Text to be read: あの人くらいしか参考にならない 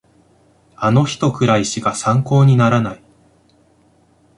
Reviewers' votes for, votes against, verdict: 2, 0, accepted